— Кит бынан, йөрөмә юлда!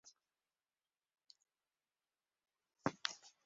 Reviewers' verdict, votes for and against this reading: rejected, 0, 2